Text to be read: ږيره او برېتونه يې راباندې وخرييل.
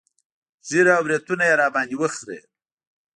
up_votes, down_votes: 2, 0